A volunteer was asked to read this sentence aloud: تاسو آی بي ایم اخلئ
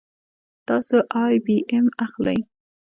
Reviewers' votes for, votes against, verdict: 1, 2, rejected